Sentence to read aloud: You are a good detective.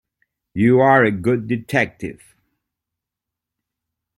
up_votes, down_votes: 2, 0